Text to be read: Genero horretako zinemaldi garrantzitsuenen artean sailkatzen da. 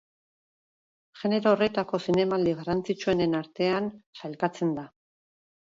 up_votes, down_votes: 10, 2